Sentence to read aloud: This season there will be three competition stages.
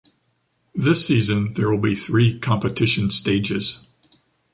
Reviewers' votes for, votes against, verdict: 2, 0, accepted